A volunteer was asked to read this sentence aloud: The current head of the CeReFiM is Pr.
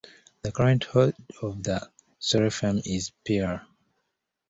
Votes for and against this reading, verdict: 0, 2, rejected